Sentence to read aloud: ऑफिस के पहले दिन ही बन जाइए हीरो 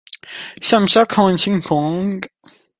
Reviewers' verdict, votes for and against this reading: rejected, 0, 2